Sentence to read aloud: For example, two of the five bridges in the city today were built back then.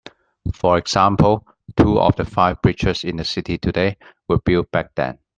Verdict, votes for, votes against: accepted, 2, 0